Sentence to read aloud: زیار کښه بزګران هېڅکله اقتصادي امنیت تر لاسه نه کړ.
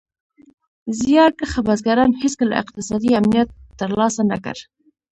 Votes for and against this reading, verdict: 0, 2, rejected